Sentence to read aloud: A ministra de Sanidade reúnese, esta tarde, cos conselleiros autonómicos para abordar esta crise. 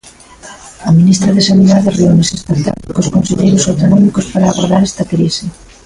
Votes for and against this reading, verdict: 1, 2, rejected